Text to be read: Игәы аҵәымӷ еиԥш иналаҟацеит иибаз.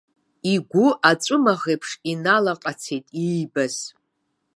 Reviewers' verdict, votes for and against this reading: rejected, 1, 2